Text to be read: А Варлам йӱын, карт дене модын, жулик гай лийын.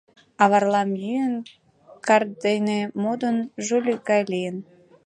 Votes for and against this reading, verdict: 2, 0, accepted